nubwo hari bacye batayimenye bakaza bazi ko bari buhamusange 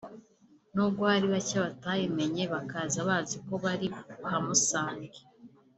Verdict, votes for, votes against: accepted, 3, 1